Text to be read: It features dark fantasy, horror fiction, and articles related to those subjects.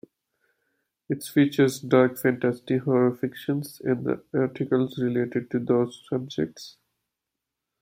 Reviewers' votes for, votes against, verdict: 0, 2, rejected